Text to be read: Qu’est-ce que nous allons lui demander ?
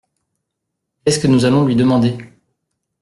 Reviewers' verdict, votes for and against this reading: rejected, 1, 2